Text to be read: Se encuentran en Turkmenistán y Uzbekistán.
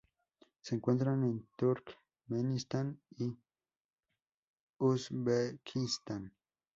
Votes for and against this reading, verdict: 2, 0, accepted